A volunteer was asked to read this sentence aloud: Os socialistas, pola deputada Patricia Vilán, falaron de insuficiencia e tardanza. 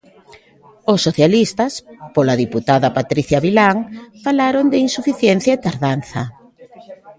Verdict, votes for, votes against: rejected, 1, 2